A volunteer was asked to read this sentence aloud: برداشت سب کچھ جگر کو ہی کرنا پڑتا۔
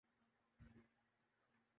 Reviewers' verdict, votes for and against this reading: rejected, 0, 2